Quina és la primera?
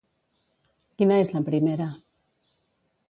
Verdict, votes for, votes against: accepted, 2, 0